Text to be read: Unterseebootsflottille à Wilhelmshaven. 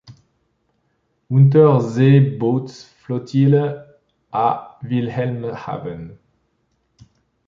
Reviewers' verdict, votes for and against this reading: accepted, 2, 0